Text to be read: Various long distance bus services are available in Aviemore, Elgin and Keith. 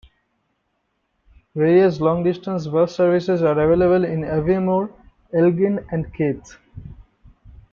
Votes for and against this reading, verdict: 1, 2, rejected